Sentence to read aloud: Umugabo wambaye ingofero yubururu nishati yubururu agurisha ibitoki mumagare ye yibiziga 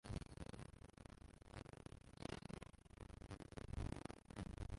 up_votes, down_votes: 0, 2